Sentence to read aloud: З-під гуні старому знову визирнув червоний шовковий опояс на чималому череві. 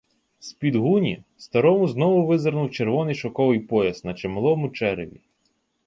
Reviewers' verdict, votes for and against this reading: rejected, 1, 2